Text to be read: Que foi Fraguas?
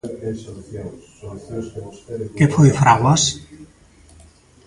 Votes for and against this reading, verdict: 0, 2, rejected